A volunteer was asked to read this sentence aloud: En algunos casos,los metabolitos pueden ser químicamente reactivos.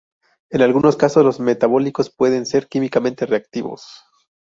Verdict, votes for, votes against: rejected, 0, 2